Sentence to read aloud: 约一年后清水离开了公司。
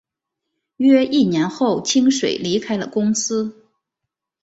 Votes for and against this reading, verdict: 3, 0, accepted